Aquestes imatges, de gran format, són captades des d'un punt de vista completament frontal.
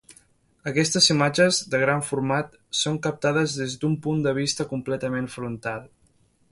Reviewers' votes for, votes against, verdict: 2, 0, accepted